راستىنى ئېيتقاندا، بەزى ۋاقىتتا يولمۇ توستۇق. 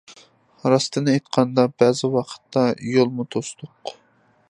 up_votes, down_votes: 2, 0